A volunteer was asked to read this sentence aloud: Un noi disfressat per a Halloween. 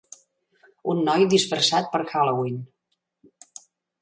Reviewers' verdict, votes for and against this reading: rejected, 1, 2